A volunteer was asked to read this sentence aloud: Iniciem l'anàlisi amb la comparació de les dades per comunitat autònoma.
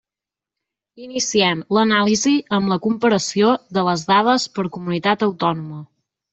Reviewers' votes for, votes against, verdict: 3, 0, accepted